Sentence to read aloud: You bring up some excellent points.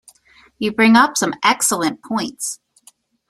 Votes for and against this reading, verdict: 2, 0, accepted